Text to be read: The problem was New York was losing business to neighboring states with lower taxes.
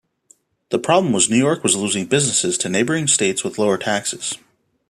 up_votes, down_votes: 0, 2